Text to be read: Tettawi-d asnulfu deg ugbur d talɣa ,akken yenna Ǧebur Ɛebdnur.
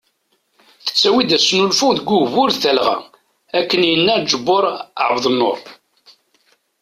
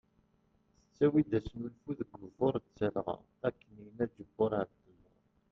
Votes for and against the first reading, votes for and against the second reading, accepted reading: 2, 0, 1, 3, first